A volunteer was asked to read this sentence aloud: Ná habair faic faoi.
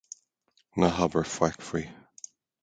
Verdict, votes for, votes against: accepted, 2, 0